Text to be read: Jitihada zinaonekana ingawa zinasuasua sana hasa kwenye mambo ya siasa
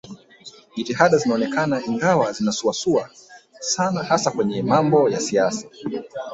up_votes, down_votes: 1, 2